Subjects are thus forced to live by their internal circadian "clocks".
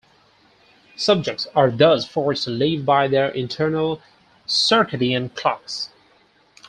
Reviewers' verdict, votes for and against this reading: accepted, 4, 0